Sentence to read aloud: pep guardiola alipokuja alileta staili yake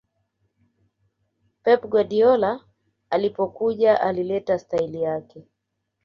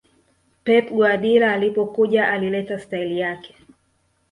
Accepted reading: first